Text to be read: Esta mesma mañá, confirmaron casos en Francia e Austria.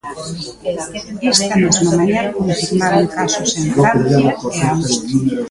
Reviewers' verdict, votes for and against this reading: rejected, 0, 2